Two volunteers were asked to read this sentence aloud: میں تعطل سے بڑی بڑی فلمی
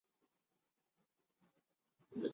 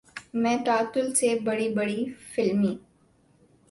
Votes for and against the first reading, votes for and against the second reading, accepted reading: 0, 3, 2, 0, second